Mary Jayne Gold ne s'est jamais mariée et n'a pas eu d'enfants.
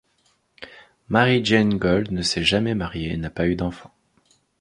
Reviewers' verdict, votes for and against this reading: rejected, 1, 2